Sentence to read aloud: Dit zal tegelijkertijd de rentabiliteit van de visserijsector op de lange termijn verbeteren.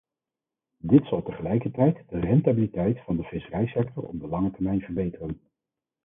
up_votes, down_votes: 2, 4